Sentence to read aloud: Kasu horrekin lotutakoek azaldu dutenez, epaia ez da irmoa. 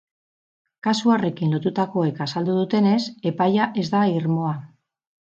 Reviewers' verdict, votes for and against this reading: accepted, 4, 0